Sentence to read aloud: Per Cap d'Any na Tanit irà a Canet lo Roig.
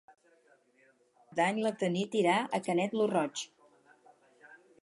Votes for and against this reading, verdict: 2, 4, rejected